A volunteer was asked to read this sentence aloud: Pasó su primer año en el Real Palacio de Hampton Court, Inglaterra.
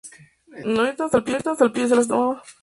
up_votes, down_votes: 0, 2